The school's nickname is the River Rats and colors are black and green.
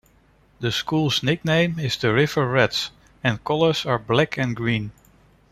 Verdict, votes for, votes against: accepted, 2, 0